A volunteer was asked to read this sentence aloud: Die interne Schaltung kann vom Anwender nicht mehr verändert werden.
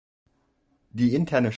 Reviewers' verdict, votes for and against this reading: rejected, 0, 2